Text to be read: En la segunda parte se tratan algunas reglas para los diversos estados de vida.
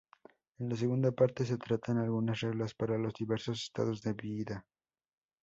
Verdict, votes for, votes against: rejected, 2, 2